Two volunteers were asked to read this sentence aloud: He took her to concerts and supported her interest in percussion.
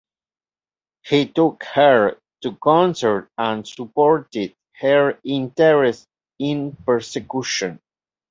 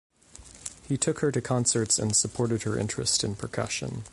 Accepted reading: second